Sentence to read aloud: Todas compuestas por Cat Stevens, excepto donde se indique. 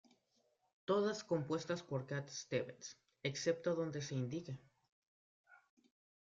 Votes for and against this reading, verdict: 0, 2, rejected